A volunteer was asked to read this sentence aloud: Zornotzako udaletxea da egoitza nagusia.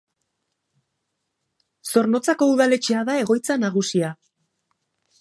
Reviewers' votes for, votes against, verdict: 3, 0, accepted